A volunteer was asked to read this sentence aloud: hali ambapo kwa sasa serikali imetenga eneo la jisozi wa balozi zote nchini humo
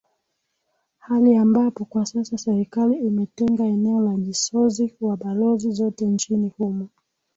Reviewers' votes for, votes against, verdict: 6, 4, accepted